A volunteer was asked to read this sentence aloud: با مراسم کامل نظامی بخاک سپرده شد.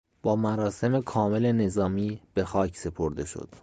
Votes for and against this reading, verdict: 2, 0, accepted